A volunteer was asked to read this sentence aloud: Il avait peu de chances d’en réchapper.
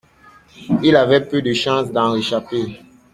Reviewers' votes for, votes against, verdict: 2, 0, accepted